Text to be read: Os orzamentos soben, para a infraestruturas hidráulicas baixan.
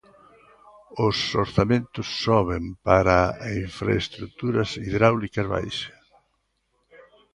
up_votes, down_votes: 1, 2